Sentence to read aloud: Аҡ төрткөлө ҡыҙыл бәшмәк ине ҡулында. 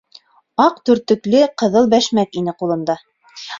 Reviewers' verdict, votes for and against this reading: rejected, 1, 2